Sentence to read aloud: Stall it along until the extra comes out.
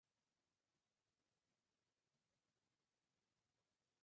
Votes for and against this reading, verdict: 0, 2, rejected